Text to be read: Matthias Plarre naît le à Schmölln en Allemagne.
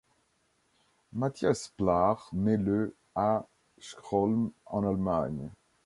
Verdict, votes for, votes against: rejected, 1, 2